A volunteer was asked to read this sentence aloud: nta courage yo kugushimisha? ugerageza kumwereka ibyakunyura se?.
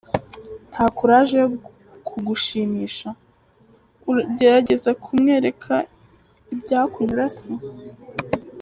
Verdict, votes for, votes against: rejected, 1, 2